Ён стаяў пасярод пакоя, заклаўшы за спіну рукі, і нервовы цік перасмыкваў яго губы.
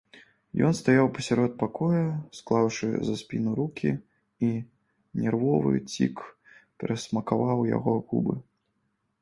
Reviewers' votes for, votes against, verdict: 0, 3, rejected